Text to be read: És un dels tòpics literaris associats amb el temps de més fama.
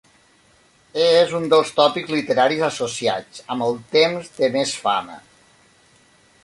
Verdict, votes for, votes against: accepted, 3, 0